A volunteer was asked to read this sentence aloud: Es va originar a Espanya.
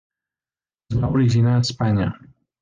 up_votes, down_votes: 2, 1